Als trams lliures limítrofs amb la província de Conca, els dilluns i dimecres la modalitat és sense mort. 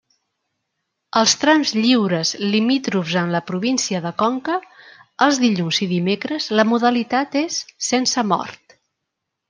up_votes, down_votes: 1, 2